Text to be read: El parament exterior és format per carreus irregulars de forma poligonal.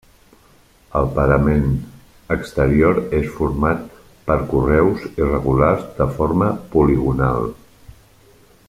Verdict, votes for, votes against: rejected, 0, 2